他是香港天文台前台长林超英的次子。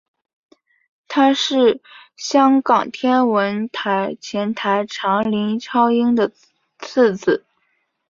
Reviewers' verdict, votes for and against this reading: rejected, 1, 2